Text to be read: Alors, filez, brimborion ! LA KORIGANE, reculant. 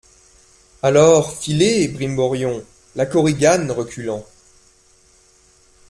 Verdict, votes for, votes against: accepted, 3, 0